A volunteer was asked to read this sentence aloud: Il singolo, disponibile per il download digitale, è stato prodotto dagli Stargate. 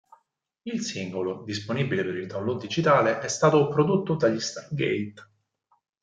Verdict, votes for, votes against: accepted, 4, 0